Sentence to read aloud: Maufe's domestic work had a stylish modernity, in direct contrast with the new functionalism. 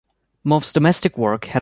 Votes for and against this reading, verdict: 0, 2, rejected